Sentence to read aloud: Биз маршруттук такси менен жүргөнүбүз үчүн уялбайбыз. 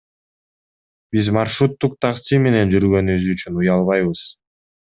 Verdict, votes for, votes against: accepted, 2, 0